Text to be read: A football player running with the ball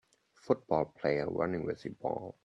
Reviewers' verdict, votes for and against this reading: rejected, 1, 2